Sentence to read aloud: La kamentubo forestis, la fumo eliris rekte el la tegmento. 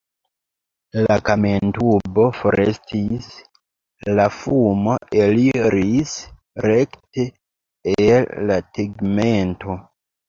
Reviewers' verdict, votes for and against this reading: accepted, 2, 1